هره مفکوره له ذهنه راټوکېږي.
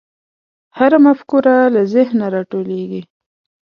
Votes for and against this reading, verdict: 2, 1, accepted